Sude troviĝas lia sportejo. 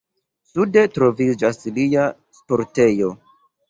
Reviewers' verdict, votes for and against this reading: accepted, 2, 1